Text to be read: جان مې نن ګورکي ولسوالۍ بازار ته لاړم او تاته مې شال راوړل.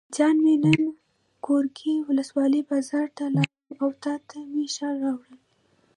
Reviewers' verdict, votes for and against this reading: rejected, 0, 2